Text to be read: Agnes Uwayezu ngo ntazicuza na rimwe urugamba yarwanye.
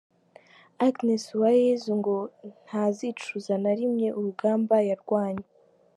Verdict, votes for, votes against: accepted, 2, 0